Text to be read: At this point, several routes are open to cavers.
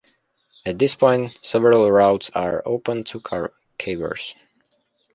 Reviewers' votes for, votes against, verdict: 0, 2, rejected